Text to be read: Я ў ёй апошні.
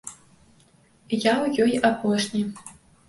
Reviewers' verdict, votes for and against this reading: accepted, 2, 0